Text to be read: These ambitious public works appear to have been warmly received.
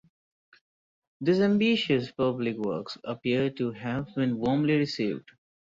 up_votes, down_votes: 0, 2